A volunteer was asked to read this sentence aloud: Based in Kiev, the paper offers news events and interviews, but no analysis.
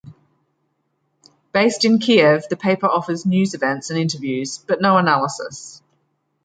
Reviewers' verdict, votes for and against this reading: accepted, 2, 0